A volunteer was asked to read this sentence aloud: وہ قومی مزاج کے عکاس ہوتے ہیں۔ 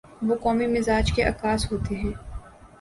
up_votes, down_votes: 2, 0